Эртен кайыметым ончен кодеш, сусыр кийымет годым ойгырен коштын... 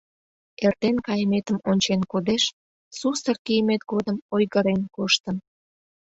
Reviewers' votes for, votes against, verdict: 2, 0, accepted